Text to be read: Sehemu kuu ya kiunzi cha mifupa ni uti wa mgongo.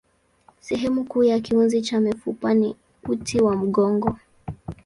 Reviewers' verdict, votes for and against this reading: accepted, 2, 0